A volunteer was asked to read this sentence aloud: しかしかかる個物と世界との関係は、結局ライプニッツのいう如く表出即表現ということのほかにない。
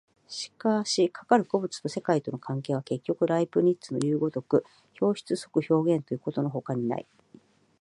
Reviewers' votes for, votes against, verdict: 17, 4, accepted